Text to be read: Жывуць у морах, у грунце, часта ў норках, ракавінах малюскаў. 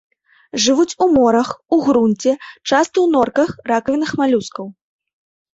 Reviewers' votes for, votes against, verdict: 2, 0, accepted